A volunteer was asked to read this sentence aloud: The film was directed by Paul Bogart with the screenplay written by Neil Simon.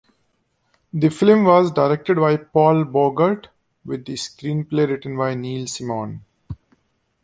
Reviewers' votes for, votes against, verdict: 2, 0, accepted